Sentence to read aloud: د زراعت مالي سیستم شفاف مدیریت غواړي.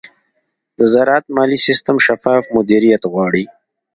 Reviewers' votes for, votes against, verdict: 2, 1, accepted